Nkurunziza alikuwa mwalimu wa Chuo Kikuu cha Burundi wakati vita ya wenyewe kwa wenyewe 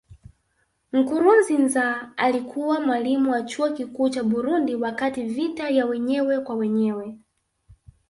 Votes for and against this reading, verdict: 2, 0, accepted